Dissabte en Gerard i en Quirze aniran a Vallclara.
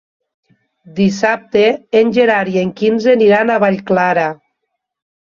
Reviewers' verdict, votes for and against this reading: rejected, 1, 2